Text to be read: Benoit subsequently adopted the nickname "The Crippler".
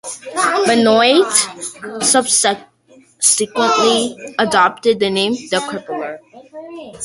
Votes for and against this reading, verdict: 1, 2, rejected